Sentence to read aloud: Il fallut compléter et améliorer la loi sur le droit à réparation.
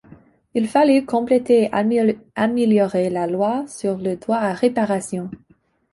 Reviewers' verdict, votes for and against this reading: rejected, 0, 2